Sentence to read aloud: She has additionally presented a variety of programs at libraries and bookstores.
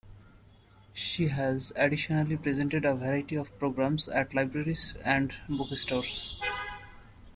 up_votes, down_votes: 2, 0